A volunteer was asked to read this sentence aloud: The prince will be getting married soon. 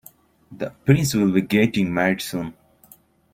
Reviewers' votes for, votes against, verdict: 2, 0, accepted